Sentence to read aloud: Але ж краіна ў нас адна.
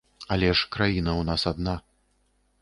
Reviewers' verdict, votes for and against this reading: accepted, 2, 0